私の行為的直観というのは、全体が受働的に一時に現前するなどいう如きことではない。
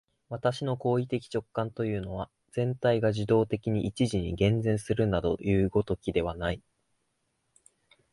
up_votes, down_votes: 2, 1